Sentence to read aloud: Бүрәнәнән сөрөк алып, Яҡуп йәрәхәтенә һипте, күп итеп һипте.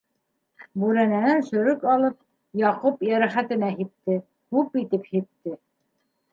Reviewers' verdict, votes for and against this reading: accepted, 2, 0